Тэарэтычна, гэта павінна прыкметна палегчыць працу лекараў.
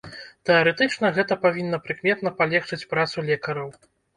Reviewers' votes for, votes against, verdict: 2, 0, accepted